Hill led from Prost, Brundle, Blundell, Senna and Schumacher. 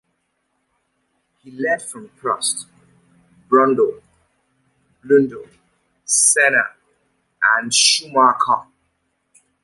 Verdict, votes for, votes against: rejected, 0, 2